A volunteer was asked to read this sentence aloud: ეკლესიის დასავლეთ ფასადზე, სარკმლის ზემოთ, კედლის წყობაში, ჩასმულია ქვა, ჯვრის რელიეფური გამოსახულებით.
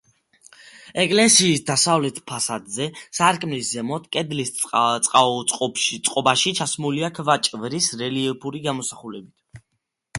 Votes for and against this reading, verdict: 1, 2, rejected